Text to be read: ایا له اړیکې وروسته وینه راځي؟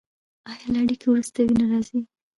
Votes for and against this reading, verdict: 0, 2, rejected